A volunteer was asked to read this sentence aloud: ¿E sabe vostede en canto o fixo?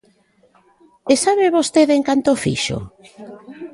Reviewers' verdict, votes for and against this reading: accepted, 3, 0